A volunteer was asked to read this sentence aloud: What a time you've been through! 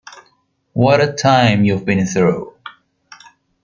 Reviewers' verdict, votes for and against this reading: rejected, 1, 2